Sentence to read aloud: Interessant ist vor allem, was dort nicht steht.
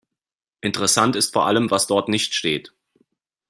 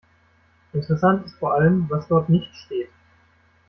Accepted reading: first